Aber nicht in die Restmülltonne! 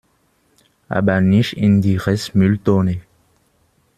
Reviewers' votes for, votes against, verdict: 2, 1, accepted